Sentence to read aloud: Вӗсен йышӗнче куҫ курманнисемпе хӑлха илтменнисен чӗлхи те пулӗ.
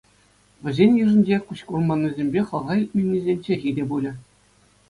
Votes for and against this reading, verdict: 2, 0, accepted